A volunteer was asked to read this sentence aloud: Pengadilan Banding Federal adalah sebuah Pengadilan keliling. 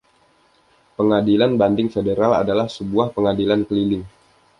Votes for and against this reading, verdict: 2, 0, accepted